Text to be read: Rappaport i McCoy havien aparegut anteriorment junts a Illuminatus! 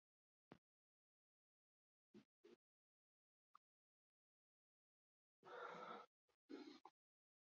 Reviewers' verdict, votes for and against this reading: rejected, 0, 3